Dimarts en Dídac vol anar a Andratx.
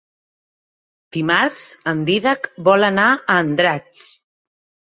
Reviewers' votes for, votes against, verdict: 3, 1, accepted